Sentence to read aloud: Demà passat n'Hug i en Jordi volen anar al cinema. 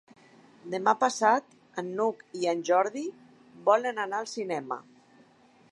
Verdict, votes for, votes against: rejected, 1, 2